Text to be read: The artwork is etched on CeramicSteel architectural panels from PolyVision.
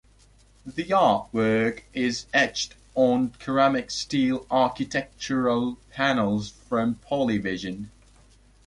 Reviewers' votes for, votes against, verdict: 2, 0, accepted